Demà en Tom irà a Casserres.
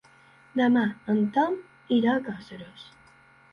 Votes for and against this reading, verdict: 0, 2, rejected